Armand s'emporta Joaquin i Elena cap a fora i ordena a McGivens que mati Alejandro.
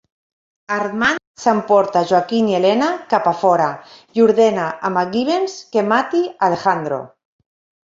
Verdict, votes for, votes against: accepted, 2, 0